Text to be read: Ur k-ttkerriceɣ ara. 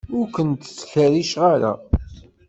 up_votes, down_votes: 1, 2